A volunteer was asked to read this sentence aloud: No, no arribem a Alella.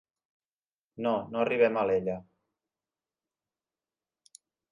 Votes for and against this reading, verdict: 3, 0, accepted